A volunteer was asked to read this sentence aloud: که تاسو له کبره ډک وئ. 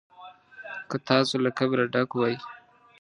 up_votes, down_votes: 2, 0